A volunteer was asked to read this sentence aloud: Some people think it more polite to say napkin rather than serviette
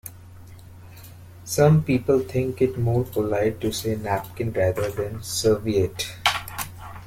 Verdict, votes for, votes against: accepted, 2, 0